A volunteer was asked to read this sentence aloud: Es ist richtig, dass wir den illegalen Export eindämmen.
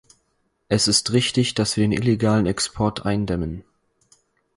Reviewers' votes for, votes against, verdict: 2, 4, rejected